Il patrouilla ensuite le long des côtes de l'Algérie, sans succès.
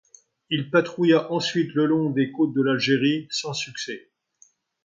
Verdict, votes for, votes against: accepted, 2, 0